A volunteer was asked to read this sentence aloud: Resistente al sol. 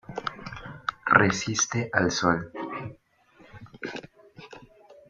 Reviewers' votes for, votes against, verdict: 0, 2, rejected